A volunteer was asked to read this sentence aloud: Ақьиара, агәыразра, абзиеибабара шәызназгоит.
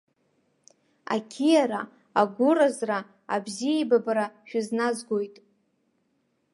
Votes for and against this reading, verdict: 2, 0, accepted